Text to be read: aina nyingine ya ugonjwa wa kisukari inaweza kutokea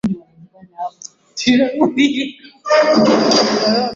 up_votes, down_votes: 0, 2